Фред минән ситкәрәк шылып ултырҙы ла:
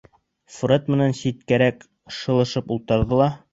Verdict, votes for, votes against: rejected, 0, 2